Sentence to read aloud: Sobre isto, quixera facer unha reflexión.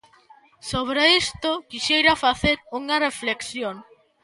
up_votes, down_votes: 1, 2